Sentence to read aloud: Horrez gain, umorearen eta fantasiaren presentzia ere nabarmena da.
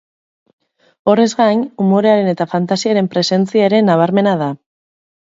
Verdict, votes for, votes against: rejected, 0, 2